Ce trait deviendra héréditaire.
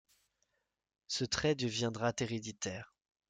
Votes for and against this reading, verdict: 1, 2, rejected